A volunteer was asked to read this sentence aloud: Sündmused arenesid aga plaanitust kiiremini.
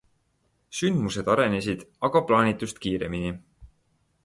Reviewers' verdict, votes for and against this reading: accepted, 2, 0